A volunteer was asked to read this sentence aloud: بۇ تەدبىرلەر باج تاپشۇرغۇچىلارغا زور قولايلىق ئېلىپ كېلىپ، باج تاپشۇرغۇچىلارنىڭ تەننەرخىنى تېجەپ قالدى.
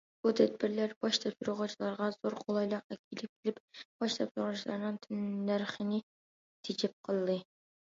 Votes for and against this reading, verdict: 1, 2, rejected